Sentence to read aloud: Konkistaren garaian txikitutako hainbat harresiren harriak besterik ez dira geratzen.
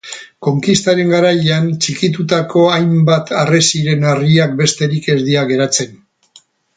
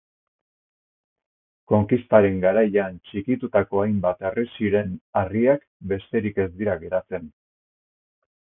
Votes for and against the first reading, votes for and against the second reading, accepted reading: 2, 2, 4, 0, second